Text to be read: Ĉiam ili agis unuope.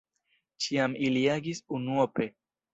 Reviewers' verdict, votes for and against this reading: accepted, 2, 0